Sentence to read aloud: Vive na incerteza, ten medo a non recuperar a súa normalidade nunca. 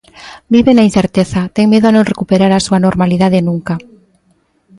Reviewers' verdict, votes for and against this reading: accepted, 2, 0